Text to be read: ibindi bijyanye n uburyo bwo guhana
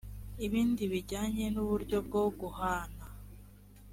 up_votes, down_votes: 3, 0